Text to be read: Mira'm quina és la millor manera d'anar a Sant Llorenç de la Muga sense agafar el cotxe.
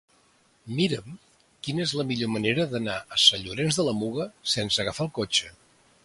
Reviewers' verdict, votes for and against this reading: accepted, 2, 0